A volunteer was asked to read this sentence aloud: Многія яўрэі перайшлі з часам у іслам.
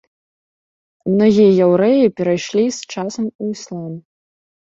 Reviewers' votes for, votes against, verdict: 1, 2, rejected